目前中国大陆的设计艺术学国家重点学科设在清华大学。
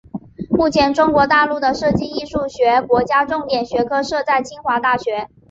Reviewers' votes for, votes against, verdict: 2, 1, accepted